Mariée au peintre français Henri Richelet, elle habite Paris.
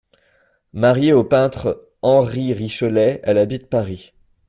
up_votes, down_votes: 0, 2